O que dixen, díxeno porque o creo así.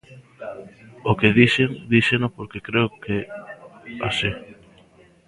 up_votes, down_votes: 0, 2